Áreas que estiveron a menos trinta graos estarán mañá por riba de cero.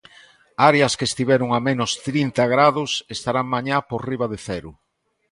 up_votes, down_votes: 0, 2